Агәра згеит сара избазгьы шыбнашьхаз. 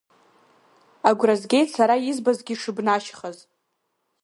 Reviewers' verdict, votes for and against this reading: accepted, 2, 0